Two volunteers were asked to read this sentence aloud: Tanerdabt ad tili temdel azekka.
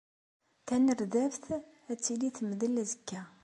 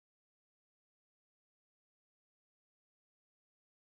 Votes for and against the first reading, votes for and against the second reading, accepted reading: 2, 0, 0, 2, first